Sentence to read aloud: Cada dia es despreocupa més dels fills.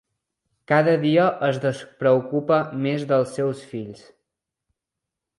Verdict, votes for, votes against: rejected, 1, 2